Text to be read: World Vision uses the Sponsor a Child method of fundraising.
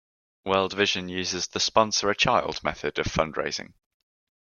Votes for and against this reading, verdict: 2, 0, accepted